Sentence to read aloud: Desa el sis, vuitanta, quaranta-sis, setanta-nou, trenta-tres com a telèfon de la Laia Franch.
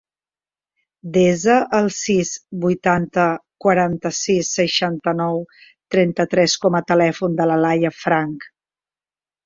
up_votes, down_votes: 1, 2